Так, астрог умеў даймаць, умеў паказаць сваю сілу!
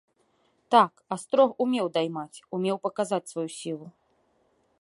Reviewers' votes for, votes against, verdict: 2, 0, accepted